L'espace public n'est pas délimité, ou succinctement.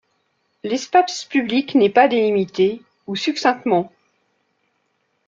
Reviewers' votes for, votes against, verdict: 0, 2, rejected